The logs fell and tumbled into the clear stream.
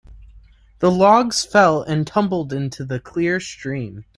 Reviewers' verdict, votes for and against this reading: rejected, 1, 2